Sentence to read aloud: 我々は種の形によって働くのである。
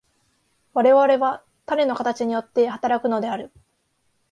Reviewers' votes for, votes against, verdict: 2, 0, accepted